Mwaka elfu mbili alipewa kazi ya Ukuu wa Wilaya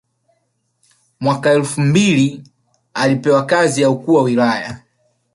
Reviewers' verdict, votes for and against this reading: rejected, 1, 2